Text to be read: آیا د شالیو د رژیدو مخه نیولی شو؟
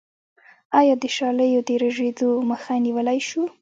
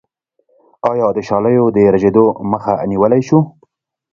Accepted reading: second